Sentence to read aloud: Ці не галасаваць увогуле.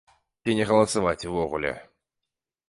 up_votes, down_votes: 2, 1